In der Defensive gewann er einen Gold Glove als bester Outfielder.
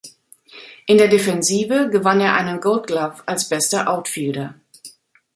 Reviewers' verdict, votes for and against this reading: accepted, 2, 0